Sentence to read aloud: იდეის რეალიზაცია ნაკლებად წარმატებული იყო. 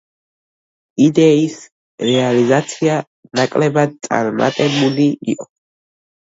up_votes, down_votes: 1, 2